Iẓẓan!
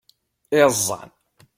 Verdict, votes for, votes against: accepted, 2, 0